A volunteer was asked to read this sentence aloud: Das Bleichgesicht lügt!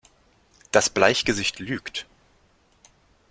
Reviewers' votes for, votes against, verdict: 2, 0, accepted